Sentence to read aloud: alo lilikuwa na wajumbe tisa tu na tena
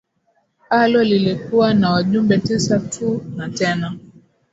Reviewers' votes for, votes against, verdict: 2, 0, accepted